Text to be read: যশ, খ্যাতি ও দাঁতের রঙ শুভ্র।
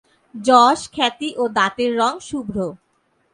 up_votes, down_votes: 2, 0